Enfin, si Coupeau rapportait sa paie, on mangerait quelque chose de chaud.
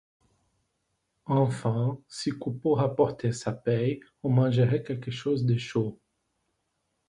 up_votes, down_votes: 2, 0